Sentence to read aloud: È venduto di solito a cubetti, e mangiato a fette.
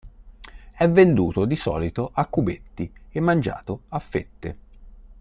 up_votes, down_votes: 2, 0